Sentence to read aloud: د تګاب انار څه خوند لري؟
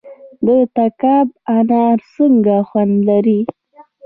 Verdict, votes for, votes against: rejected, 0, 2